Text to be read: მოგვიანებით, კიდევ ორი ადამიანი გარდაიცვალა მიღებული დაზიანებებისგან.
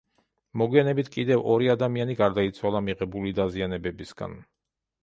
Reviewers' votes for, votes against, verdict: 2, 1, accepted